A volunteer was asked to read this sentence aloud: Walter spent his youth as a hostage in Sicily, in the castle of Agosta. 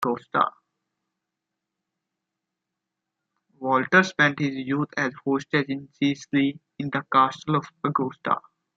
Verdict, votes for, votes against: rejected, 1, 2